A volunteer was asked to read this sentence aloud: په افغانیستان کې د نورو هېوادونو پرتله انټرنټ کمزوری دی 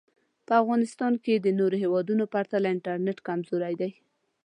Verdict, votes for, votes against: rejected, 1, 2